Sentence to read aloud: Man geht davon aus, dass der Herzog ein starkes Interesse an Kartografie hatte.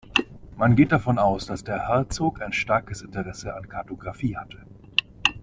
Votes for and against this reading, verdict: 2, 0, accepted